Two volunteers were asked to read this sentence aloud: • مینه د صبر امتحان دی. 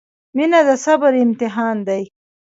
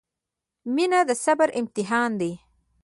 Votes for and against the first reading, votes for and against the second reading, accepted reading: 0, 2, 3, 0, second